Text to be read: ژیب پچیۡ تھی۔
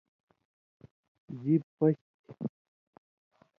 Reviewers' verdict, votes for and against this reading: accepted, 2, 0